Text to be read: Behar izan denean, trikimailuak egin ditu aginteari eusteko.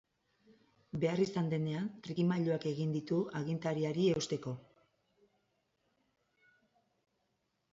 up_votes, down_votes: 2, 2